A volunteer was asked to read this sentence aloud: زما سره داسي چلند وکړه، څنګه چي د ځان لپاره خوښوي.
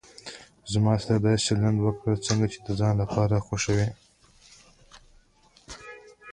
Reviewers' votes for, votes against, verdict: 0, 2, rejected